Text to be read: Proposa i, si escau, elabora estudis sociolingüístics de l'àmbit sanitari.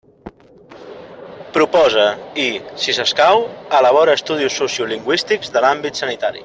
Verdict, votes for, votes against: rejected, 1, 2